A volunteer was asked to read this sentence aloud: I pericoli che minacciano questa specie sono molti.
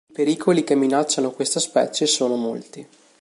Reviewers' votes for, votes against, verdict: 0, 2, rejected